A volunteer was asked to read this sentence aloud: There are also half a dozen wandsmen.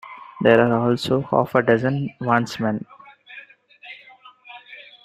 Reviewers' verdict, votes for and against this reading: accepted, 2, 1